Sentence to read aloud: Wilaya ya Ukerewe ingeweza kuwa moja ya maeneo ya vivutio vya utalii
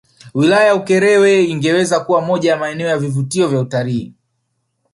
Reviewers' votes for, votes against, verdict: 1, 2, rejected